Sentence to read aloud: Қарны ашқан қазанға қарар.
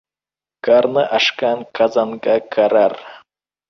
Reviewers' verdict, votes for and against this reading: rejected, 1, 2